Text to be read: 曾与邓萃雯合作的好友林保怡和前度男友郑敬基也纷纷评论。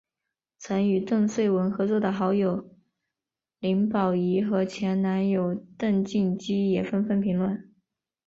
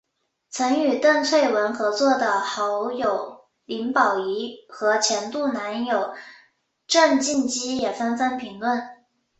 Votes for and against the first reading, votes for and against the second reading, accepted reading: 1, 2, 3, 0, second